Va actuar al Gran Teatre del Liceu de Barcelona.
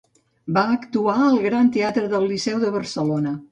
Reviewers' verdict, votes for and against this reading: accepted, 2, 0